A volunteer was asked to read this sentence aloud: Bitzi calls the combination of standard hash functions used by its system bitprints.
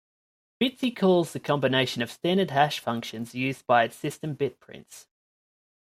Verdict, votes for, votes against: accepted, 2, 1